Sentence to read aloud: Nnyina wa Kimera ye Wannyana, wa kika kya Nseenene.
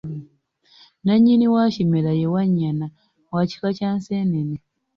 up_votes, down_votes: 0, 2